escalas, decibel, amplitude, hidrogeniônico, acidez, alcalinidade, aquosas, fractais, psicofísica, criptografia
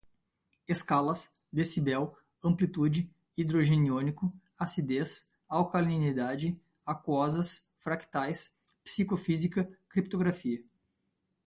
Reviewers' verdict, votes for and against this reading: accepted, 2, 0